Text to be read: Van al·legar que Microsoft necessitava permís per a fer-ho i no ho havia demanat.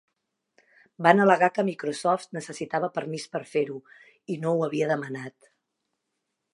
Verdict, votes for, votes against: accepted, 3, 0